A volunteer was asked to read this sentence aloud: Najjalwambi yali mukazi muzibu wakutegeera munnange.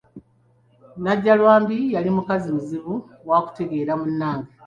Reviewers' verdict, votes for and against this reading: accepted, 2, 0